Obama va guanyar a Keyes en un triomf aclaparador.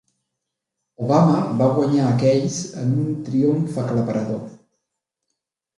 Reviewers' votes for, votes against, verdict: 2, 0, accepted